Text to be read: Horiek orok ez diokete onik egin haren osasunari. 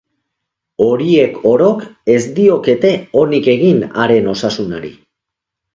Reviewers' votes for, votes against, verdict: 3, 0, accepted